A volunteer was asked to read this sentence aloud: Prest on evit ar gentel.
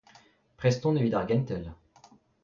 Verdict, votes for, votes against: accepted, 2, 0